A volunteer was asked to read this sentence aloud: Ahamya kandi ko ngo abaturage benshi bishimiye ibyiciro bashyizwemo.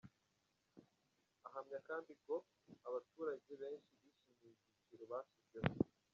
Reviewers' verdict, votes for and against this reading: rejected, 1, 2